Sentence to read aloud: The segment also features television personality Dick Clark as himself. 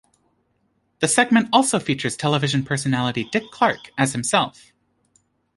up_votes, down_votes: 2, 0